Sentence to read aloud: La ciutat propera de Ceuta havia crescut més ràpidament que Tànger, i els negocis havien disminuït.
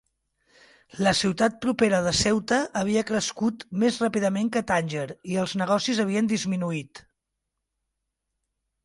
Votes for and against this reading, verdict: 3, 0, accepted